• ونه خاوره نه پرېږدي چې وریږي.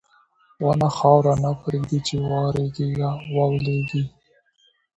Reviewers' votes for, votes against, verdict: 2, 1, accepted